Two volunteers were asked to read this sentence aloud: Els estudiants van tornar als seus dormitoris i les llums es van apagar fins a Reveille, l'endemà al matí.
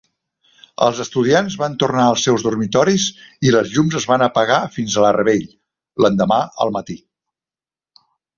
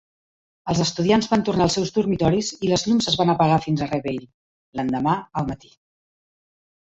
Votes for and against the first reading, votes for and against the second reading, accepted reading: 1, 2, 2, 0, second